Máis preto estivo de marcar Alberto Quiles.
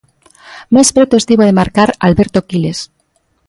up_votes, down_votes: 2, 0